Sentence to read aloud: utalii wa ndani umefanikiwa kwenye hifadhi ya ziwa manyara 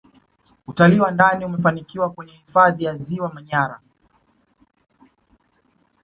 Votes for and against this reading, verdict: 2, 1, accepted